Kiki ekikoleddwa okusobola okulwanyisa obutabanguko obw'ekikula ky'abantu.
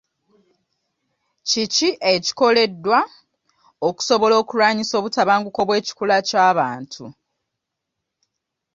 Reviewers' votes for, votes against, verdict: 2, 0, accepted